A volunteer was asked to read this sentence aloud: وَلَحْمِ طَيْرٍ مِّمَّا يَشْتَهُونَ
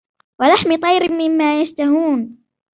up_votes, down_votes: 2, 0